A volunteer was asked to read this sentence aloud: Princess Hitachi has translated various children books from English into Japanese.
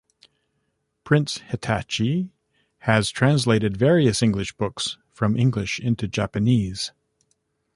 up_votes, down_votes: 1, 2